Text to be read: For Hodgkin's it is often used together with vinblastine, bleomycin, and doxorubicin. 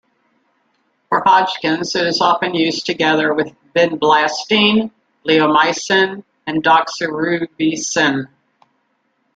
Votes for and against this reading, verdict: 1, 2, rejected